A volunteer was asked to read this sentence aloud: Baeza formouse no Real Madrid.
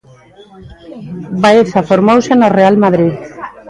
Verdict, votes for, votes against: rejected, 1, 2